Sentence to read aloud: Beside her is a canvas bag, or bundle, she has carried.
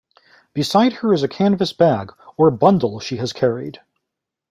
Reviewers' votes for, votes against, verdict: 2, 1, accepted